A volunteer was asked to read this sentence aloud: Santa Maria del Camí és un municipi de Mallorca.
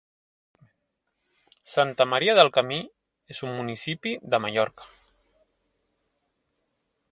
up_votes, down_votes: 2, 0